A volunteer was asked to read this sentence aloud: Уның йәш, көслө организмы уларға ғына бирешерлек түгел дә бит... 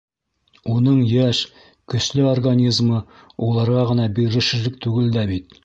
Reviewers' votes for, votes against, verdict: 3, 0, accepted